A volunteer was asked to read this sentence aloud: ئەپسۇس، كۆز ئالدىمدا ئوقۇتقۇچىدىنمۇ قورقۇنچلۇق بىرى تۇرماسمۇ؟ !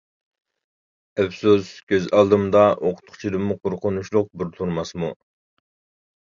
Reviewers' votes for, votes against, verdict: 0, 2, rejected